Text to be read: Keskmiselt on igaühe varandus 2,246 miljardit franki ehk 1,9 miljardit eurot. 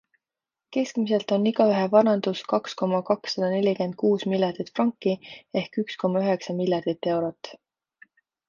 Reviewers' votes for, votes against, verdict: 0, 2, rejected